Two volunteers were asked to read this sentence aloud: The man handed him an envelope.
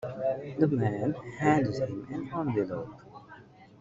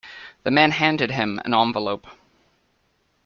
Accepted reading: second